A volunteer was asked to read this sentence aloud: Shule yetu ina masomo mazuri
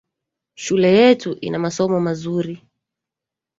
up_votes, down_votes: 0, 2